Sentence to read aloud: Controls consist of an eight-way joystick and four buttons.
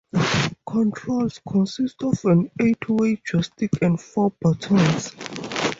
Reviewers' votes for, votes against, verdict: 4, 2, accepted